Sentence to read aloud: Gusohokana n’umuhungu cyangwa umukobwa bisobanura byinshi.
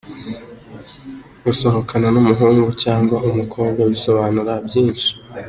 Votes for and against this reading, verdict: 2, 0, accepted